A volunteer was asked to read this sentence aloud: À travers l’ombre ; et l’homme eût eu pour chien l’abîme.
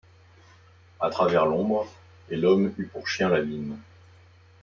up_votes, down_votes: 1, 2